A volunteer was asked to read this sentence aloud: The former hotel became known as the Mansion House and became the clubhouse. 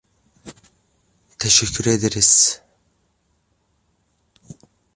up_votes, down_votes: 0, 2